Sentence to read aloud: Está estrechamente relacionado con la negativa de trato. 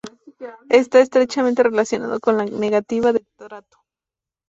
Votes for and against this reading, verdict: 0, 2, rejected